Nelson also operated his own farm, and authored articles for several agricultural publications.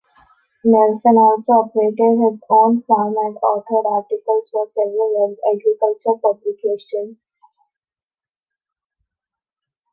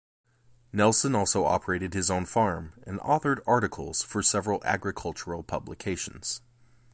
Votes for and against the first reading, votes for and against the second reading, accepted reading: 0, 2, 2, 0, second